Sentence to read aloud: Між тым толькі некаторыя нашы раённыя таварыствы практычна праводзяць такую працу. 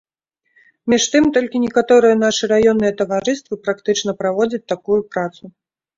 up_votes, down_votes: 2, 0